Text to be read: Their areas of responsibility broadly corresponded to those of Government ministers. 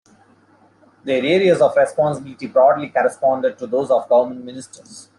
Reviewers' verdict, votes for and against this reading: rejected, 0, 2